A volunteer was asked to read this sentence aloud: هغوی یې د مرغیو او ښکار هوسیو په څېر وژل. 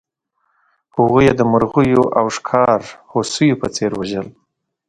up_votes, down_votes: 2, 0